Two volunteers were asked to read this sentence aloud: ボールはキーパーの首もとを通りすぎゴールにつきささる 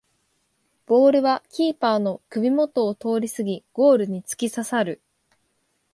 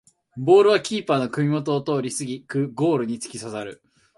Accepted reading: first